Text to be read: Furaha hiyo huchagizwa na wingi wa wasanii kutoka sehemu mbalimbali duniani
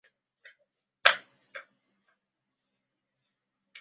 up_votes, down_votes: 0, 2